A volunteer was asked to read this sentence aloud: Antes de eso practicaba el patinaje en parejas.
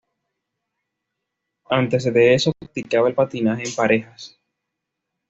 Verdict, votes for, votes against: accepted, 2, 0